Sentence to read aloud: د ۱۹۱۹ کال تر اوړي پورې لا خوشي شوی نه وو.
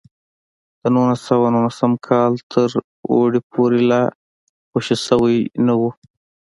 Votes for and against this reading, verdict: 0, 2, rejected